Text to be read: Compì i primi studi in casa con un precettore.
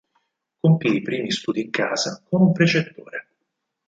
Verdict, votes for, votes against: rejected, 0, 4